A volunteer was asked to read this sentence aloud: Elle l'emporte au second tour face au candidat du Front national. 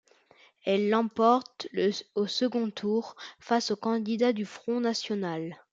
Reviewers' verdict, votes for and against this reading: rejected, 1, 2